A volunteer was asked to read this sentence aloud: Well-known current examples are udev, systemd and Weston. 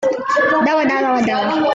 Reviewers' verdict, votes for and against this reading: rejected, 0, 2